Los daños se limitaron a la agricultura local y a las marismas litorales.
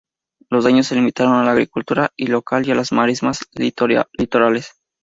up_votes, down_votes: 0, 2